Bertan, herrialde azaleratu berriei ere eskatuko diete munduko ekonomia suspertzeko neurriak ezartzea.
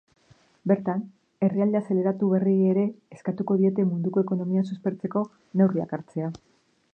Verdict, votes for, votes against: rejected, 0, 3